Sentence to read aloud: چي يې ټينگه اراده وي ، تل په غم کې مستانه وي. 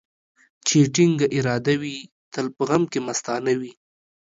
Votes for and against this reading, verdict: 2, 0, accepted